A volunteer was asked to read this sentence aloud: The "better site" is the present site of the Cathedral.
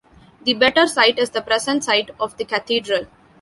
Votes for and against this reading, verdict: 2, 0, accepted